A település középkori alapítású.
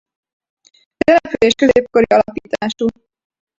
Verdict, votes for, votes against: rejected, 0, 2